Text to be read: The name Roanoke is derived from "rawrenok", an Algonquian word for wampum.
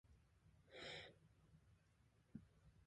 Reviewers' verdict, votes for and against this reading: rejected, 0, 2